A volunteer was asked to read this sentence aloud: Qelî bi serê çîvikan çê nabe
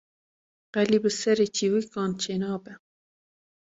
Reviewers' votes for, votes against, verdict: 2, 0, accepted